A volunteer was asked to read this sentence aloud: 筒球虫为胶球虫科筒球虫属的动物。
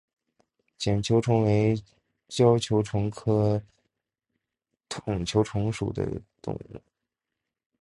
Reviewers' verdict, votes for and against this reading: rejected, 0, 3